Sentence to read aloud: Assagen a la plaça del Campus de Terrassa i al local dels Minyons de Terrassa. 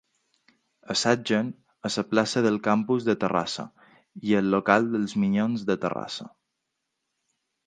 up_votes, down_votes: 1, 2